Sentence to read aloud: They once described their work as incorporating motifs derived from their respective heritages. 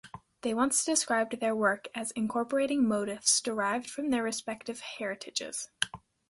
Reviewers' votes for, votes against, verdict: 2, 0, accepted